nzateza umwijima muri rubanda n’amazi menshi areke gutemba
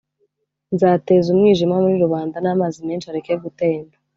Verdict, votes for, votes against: accepted, 2, 0